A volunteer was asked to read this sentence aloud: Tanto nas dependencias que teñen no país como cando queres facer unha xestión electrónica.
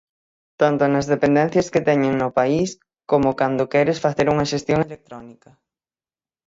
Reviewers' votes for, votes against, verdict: 0, 6, rejected